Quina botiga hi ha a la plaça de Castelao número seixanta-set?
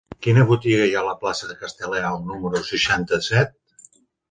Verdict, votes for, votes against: rejected, 0, 3